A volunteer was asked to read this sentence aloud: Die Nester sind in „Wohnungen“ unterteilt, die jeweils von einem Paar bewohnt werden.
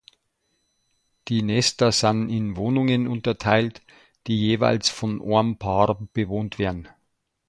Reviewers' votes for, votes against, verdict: 0, 2, rejected